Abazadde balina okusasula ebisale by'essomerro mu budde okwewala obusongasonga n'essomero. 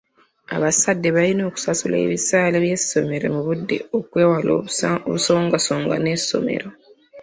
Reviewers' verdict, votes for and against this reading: rejected, 1, 2